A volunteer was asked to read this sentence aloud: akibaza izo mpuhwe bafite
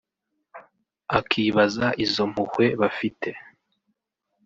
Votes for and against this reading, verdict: 1, 2, rejected